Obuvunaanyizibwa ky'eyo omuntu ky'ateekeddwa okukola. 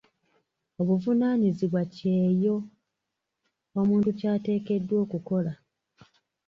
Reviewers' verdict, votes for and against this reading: accepted, 2, 1